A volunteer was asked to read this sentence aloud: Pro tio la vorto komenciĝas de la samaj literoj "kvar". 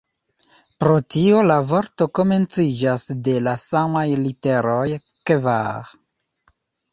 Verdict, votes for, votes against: accepted, 2, 0